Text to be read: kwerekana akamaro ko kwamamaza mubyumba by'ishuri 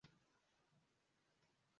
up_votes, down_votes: 0, 2